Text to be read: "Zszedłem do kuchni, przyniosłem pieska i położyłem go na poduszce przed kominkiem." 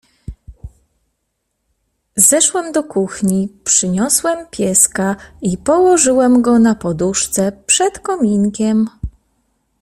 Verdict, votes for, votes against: rejected, 1, 2